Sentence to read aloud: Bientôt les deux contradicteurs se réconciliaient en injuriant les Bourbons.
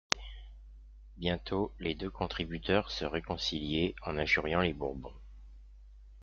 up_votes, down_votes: 0, 2